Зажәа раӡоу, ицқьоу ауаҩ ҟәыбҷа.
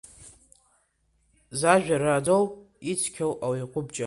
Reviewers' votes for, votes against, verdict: 2, 0, accepted